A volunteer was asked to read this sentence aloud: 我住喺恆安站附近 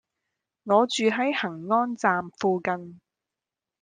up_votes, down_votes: 2, 1